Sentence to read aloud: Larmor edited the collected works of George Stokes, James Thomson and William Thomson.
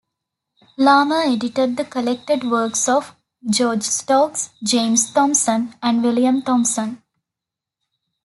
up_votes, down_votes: 2, 0